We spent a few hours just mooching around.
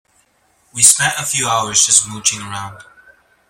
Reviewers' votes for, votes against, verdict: 2, 0, accepted